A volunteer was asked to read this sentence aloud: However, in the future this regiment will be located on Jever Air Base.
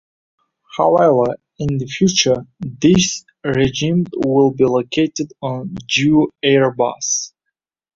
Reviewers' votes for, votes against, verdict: 0, 2, rejected